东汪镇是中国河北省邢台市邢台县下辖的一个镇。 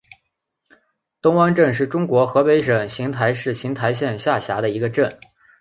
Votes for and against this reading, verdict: 3, 0, accepted